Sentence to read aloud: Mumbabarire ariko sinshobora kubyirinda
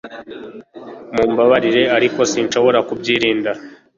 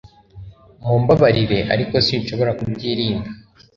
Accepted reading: second